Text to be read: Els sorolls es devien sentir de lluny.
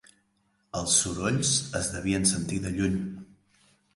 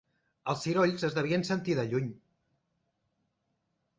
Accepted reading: first